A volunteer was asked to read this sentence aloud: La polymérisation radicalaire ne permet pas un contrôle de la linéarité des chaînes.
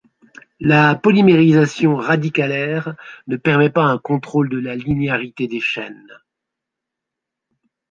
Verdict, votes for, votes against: accepted, 2, 0